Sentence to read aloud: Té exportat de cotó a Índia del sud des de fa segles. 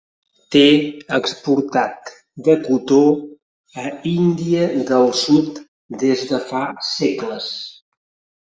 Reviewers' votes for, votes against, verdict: 0, 2, rejected